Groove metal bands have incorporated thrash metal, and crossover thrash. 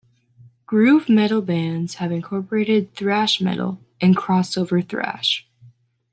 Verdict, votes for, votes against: accepted, 2, 0